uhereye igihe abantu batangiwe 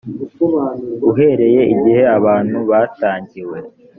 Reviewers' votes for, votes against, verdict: 2, 0, accepted